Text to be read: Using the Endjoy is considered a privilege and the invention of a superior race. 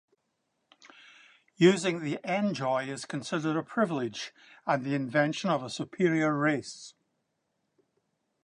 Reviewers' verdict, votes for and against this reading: accepted, 2, 0